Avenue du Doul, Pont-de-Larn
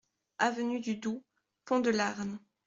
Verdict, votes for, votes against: accepted, 2, 0